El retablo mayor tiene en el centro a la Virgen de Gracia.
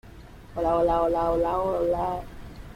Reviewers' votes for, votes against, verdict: 0, 2, rejected